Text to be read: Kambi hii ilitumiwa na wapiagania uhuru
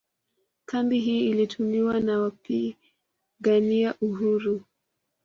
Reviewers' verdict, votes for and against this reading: accepted, 2, 0